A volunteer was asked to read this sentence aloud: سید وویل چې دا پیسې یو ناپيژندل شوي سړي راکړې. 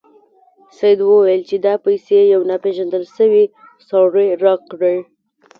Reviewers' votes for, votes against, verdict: 1, 2, rejected